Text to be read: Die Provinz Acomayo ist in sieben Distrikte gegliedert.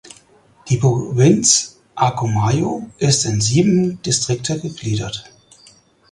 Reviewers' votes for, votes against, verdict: 2, 4, rejected